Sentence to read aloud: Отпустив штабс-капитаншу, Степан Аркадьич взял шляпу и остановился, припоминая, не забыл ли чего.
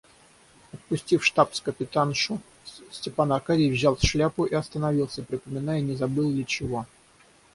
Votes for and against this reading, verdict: 3, 3, rejected